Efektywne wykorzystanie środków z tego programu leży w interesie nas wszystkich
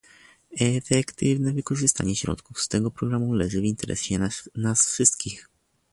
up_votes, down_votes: 1, 2